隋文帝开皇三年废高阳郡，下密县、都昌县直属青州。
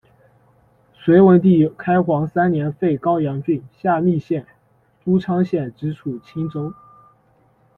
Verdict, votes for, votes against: accepted, 2, 0